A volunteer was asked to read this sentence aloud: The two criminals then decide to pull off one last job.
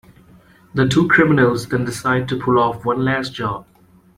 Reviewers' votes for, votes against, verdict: 2, 0, accepted